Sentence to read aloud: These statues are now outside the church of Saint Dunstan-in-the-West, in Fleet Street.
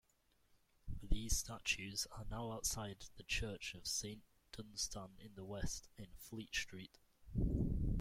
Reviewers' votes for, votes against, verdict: 2, 0, accepted